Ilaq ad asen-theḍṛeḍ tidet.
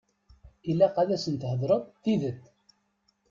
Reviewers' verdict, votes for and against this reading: rejected, 0, 2